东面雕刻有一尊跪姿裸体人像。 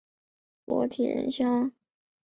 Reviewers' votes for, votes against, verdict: 0, 3, rejected